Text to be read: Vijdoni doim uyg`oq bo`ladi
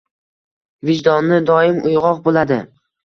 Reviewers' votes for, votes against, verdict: 2, 0, accepted